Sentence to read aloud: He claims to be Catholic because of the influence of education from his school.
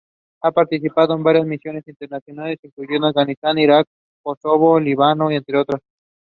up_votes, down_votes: 0, 2